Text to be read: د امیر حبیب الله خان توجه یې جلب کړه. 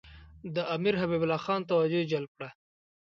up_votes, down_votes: 2, 0